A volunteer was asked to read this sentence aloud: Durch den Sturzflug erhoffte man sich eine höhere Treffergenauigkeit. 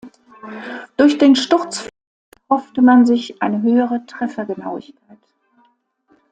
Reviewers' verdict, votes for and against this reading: rejected, 0, 2